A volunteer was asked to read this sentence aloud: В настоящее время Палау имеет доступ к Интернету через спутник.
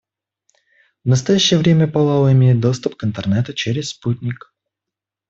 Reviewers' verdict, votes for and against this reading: accepted, 2, 0